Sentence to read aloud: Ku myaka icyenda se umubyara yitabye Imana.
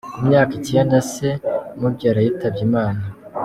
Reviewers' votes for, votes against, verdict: 2, 0, accepted